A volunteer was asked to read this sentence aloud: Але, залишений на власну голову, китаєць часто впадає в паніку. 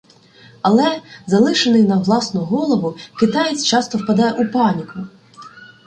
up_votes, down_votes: 0, 2